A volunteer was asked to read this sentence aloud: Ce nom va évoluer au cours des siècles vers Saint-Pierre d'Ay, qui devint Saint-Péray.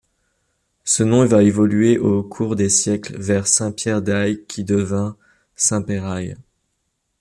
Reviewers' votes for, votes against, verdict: 1, 2, rejected